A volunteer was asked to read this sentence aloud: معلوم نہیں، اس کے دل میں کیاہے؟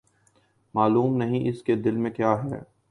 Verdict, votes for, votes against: accepted, 2, 0